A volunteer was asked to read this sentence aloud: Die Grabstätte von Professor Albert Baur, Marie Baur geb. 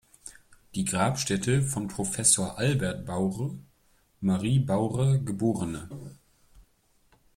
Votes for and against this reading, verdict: 0, 2, rejected